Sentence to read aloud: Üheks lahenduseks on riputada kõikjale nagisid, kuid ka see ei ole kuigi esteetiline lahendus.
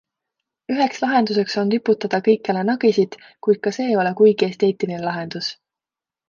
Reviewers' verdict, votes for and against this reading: accepted, 2, 0